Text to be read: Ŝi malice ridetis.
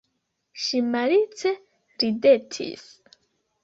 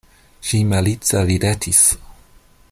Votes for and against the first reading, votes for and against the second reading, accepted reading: 0, 2, 2, 0, second